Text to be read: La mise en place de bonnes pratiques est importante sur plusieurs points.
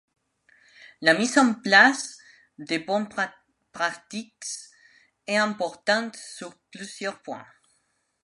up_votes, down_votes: 0, 2